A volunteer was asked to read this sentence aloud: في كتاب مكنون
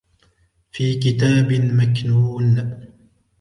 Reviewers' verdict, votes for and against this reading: accepted, 2, 0